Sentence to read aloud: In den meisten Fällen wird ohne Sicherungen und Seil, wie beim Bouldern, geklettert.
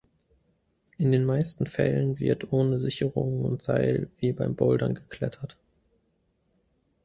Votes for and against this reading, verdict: 2, 0, accepted